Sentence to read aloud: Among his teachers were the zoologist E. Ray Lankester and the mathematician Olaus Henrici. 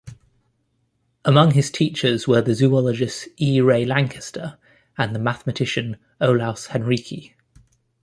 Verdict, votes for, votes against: accepted, 2, 0